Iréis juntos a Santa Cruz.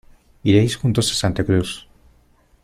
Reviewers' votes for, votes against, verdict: 2, 0, accepted